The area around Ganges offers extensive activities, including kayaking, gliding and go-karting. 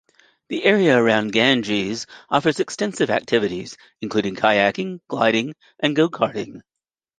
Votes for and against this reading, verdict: 2, 0, accepted